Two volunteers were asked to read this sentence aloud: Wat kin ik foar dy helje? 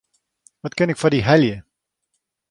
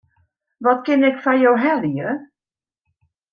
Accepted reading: first